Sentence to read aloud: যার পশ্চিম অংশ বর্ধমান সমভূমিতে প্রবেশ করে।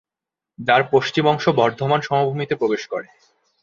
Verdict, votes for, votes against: accepted, 2, 0